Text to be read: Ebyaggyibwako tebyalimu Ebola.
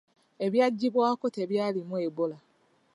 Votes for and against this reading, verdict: 2, 0, accepted